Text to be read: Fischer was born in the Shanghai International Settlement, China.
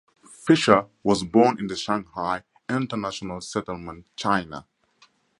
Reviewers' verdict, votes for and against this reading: accepted, 6, 0